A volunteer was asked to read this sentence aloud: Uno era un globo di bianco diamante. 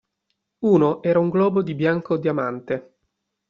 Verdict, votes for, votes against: accepted, 2, 0